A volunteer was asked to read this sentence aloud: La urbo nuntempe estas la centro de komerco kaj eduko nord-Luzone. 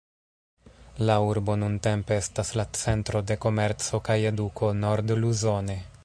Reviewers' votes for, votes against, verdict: 0, 2, rejected